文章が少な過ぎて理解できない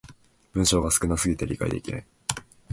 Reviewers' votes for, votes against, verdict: 2, 0, accepted